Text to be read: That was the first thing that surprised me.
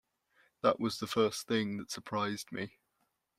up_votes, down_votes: 2, 0